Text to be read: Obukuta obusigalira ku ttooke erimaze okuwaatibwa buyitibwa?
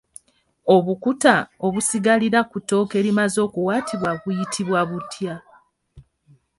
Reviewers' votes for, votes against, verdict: 0, 2, rejected